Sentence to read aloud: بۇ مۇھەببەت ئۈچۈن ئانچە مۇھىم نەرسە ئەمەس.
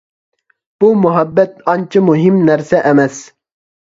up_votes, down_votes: 0, 2